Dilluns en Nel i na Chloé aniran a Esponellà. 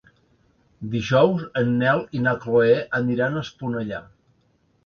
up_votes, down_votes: 1, 3